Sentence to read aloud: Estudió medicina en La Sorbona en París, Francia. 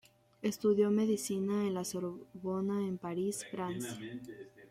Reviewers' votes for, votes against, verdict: 2, 1, accepted